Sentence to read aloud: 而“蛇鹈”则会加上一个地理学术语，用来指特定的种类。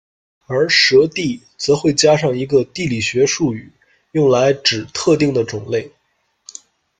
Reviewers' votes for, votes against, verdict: 1, 2, rejected